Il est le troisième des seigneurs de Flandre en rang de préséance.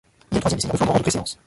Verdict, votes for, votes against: rejected, 0, 2